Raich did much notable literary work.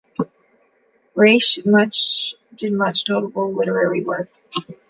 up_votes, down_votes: 0, 2